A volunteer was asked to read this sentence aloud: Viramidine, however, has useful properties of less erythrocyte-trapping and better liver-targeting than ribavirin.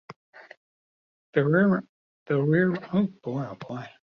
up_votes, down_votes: 1, 2